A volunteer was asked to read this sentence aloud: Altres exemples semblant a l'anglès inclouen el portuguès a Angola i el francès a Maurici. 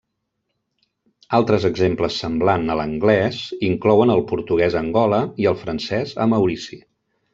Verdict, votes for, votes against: accepted, 2, 0